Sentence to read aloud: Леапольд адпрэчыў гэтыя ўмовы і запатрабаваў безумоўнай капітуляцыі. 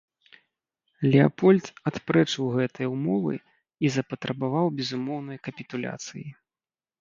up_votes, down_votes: 3, 0